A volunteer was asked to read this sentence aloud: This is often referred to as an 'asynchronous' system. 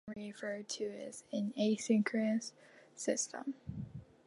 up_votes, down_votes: 0, 2